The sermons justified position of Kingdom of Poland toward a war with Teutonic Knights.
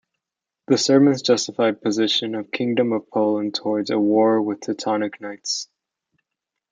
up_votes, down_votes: 1, 2